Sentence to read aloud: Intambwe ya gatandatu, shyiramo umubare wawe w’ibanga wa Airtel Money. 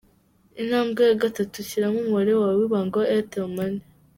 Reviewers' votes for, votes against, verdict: 3, 1, accepted